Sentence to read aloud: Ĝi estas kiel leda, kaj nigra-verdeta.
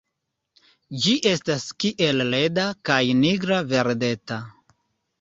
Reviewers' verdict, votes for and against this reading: accepted, 2, 0